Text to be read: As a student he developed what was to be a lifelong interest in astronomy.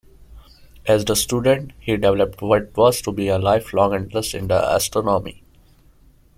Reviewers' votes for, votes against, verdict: 2, 1, accepted